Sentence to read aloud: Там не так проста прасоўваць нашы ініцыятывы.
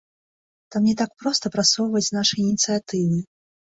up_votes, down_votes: 2, 0